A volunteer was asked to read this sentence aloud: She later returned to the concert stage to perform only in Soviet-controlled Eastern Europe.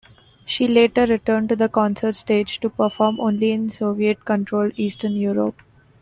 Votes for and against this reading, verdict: 2, 0, accepted